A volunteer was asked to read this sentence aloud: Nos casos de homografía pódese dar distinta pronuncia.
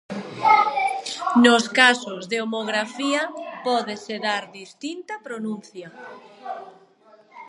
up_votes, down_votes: 0, 2